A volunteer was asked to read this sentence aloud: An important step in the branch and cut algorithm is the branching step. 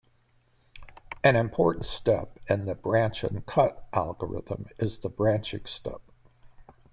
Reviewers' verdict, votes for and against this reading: accepted, 2, 1